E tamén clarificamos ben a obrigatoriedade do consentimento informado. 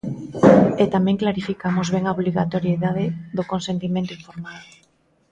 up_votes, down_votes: 0, 2